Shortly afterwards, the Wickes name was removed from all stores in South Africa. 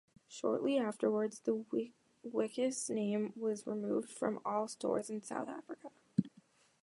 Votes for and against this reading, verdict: 0, 2, rejected